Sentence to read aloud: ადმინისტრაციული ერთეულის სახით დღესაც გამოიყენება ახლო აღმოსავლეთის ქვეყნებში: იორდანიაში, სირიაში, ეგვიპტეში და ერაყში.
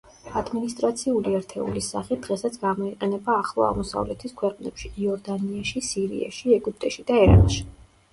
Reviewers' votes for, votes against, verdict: 2, 0, accepted